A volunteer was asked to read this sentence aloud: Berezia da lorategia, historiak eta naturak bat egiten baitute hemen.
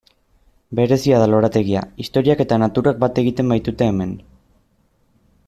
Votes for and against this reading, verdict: 2, 0, accepted